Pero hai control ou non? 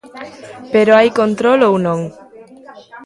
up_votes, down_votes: 1, 2